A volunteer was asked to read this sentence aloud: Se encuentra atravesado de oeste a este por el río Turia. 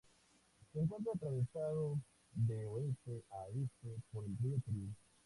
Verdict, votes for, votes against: rejected, 0, 2